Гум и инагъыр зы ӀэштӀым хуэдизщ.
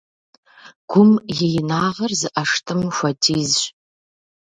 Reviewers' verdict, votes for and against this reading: accepted, 2, 0